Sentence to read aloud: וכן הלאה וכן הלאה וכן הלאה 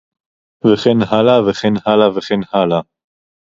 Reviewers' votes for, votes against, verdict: 4, 0, accepted